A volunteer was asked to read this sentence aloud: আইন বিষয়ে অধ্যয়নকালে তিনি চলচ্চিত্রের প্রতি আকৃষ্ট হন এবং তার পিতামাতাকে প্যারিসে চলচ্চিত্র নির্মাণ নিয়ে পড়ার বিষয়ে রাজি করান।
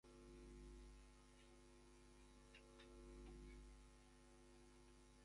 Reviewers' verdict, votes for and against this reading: rejected, 0, 6